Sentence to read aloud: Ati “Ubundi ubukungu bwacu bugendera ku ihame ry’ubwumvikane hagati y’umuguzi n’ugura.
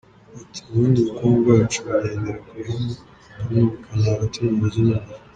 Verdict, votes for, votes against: rejected, 0, 2